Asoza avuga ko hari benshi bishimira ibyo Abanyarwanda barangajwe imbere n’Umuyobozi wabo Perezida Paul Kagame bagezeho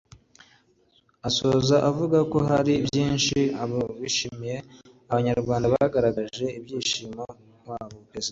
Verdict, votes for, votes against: accepted, 2, 0